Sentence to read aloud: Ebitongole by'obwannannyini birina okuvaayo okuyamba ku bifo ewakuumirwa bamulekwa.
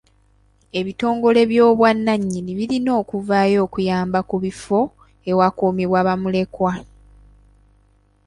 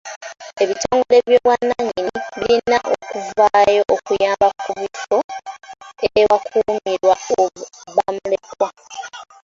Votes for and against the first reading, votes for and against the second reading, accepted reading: 2, 0, 0, 2, first